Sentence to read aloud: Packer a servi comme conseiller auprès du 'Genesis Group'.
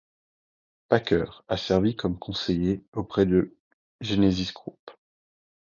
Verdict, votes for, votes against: rejected, 0, 2